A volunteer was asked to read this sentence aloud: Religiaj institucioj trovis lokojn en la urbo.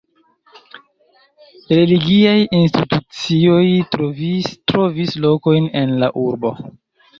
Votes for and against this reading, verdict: 1, 2, rejected